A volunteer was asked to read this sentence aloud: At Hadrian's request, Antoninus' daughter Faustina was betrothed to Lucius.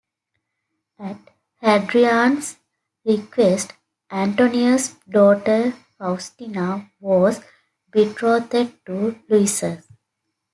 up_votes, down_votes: 2, 0